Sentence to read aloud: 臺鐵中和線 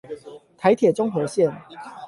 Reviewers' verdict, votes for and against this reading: accepted, 8, 0